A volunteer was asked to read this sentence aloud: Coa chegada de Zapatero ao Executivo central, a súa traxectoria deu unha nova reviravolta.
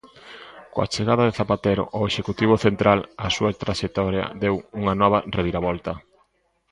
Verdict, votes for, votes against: accepted, 2, 0